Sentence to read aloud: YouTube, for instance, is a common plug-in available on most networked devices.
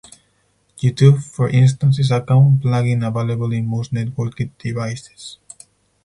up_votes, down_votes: 0, 4